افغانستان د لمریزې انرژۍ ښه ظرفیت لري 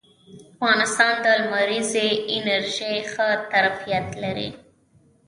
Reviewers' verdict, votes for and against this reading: accepted, 2, 0